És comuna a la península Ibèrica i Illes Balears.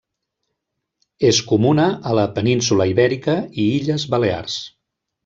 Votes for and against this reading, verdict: 3, 0, accepted